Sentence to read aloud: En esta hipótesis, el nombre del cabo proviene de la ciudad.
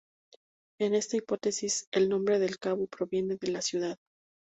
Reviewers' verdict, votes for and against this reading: accepted, 2, 0